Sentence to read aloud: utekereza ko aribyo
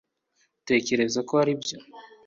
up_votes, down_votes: 2, 0